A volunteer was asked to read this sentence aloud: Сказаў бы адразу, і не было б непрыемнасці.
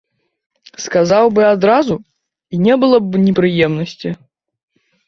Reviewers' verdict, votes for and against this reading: rejected, 1, 2